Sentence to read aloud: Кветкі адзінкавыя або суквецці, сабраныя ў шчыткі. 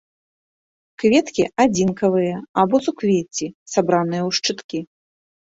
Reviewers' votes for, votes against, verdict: 2, 0, accepted